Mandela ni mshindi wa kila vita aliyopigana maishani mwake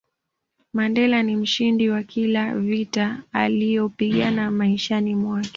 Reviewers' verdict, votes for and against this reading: accepted, 2, 0